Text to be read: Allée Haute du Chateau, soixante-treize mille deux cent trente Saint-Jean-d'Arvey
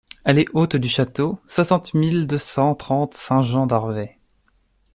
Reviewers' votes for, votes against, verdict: 1, 2, rejected